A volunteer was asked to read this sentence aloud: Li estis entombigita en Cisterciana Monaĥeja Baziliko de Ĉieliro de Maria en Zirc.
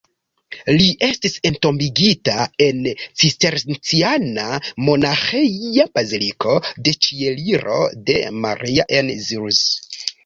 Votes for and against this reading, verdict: 0, 2, rejected